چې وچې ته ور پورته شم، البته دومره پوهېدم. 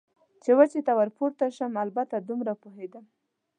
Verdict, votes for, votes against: accepted, 2, 0